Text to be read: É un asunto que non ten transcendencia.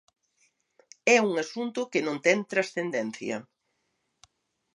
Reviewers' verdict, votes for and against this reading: accepted, 2, 0